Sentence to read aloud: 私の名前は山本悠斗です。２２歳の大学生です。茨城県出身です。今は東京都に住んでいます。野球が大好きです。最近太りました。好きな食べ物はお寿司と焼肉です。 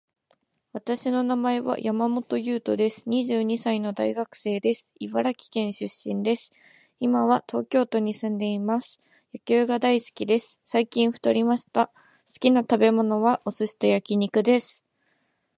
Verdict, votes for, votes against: rejected, 0, 2